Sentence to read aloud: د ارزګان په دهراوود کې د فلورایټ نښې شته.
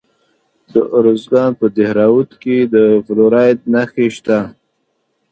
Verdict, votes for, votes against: accepted, 2, 0